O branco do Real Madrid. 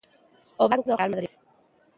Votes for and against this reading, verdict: 0, 2, rejected